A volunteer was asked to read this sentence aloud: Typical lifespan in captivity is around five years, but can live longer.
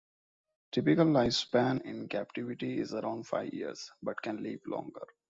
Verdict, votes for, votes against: accepted, 2, 0